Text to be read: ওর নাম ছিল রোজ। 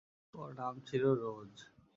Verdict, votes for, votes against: accepted, 2, 0